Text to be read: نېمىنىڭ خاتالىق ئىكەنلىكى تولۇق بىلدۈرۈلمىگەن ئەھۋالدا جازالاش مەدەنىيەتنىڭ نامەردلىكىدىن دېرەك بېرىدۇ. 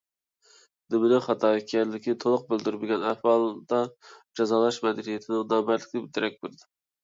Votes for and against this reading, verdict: 1, 2, rejected